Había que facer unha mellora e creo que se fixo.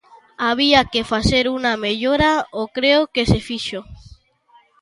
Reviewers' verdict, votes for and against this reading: rejected, 0, 2